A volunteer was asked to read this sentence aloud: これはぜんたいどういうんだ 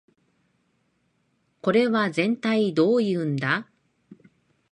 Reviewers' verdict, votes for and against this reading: rejected, 0, 2